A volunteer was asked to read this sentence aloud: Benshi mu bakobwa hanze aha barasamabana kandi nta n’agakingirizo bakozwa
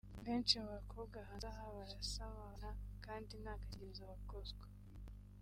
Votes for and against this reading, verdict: 1, 2, rejected